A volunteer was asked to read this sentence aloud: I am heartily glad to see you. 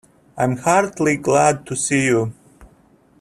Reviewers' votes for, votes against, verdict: 2, 0, accepted